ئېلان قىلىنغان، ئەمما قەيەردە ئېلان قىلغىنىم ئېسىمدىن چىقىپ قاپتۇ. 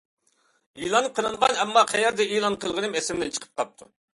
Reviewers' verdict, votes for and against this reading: accepted, 2, 0